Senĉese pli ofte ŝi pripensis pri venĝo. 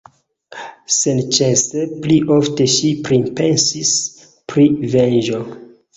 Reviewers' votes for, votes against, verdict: 0, 2, rejected